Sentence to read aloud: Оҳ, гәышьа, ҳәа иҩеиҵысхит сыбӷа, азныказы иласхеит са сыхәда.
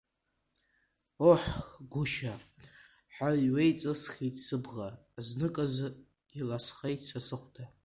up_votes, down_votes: 1, 2